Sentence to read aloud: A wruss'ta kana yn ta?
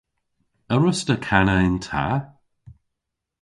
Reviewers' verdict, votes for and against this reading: accepted, 2, 0